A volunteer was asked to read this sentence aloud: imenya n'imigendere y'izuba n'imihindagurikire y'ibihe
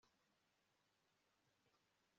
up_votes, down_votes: 1, 2